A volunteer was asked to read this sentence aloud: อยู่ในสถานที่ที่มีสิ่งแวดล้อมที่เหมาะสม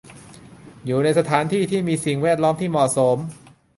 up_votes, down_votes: 2, 0